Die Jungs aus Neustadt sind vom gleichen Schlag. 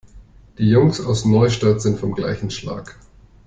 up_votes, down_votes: 2, 0